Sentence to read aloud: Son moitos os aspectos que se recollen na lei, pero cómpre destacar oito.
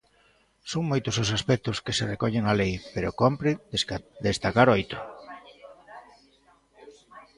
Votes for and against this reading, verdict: 1, 2, rejected